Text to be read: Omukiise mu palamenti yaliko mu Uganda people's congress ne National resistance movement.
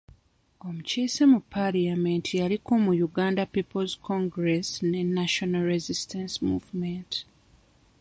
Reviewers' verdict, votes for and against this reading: rejected, 1, 2